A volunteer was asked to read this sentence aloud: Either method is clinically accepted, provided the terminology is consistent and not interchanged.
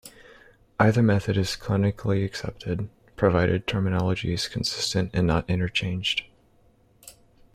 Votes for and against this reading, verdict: 0, 2, rejected